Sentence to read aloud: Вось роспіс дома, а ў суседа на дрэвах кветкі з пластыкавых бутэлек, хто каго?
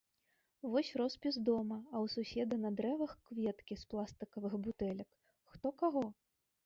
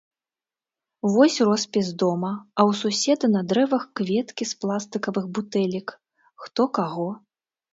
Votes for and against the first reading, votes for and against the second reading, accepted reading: 1, 2, 2, 0, second